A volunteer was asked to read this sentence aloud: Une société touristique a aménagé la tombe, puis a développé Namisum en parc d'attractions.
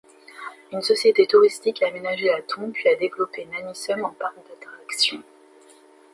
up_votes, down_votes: 2, 1